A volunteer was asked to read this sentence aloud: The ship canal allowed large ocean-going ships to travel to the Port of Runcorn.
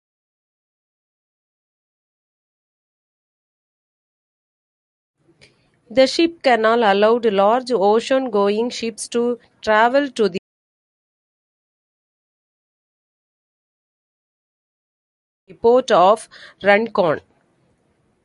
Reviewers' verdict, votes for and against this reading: rejected, 0, 2